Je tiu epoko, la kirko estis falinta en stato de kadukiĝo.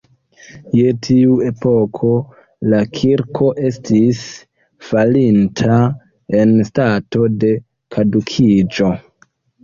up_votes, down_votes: 1, 2